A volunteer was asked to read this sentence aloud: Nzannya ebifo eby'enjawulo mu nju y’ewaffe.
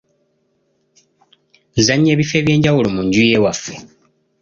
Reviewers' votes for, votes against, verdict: 2, 0, accepted